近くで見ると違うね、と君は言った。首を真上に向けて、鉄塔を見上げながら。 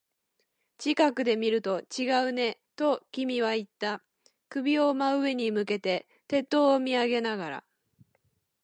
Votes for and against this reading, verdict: 2, 2, rejected